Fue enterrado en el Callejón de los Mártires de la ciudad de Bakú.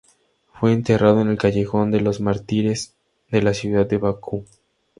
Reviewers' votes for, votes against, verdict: 2, 0, accepted